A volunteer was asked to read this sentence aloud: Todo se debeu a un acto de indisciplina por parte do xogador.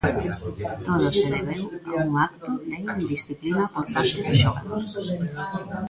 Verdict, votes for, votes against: rejected, 0, 3